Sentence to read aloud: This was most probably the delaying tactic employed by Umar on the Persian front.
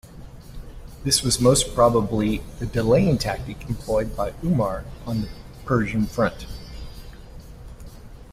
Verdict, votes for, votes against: accepted, 2, 0